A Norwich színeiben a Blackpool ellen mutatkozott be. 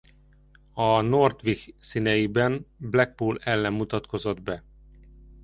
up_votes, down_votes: 0, 2